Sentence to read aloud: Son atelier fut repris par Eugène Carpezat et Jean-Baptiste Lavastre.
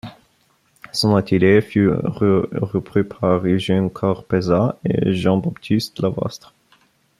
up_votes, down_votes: 1, 2